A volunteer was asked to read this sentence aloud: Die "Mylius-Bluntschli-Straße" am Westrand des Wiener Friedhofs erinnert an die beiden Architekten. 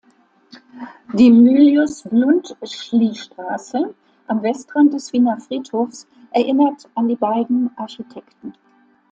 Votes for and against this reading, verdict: 2, 0, accepted